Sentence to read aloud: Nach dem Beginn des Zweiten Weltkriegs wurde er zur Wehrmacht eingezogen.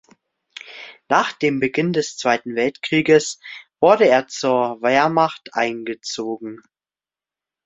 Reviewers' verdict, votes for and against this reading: accepted, 2, 1